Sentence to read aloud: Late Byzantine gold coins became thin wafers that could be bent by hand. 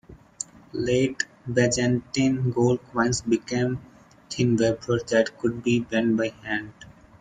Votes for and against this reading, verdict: 1, 2, rejected